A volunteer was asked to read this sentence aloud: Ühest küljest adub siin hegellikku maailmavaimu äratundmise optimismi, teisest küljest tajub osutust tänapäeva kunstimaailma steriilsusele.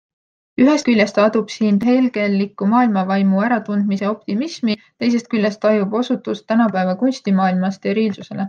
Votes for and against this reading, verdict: 2, 0, accepted